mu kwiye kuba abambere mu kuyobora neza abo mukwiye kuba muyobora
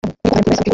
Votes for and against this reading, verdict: 0, 2, rejected